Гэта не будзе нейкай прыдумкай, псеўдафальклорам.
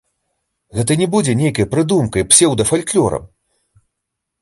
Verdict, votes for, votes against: accepted, 2, 1